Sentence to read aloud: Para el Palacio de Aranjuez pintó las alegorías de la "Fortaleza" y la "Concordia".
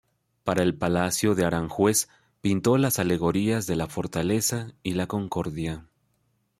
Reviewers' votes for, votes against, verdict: 2, 0, accepted